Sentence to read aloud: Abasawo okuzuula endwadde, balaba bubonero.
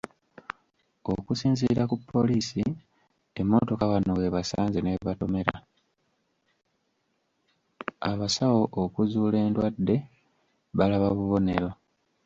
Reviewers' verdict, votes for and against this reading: rejected, 0, 2